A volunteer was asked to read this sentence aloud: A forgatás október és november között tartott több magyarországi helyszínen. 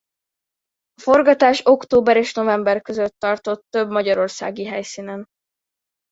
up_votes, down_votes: 0, 2